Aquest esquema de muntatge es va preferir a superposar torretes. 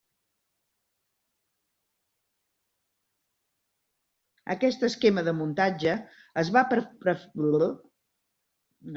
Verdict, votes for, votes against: rejected, 0, 2